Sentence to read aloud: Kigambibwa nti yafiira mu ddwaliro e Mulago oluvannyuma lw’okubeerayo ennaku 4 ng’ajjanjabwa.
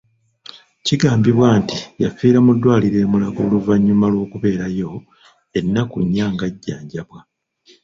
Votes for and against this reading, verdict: 0, 2, rejected